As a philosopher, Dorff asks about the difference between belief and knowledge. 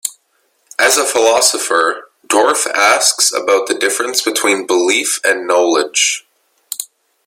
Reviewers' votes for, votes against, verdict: 2, 0, accepted